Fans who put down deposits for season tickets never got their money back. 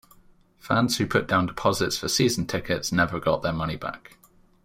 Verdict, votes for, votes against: accepted, 2, 0